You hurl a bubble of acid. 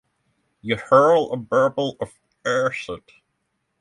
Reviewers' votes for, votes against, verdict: 3, 6, rejected